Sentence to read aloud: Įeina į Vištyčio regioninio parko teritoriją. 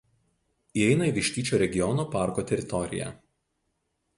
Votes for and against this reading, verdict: 0, 2, rejected